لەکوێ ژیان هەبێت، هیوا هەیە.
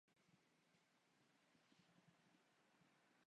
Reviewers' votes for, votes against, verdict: 0, 2, rejected